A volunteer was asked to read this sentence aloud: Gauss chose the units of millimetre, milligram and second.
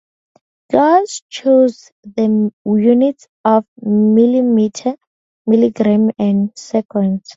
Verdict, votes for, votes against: rejected, 0, 2